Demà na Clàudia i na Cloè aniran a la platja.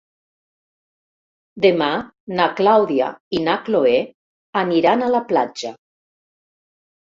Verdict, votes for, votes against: accepted, 3, 0